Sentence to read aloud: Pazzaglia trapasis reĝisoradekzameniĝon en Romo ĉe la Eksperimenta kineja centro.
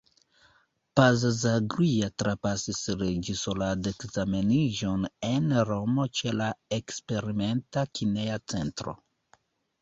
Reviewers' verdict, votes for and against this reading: accepted, 2, 1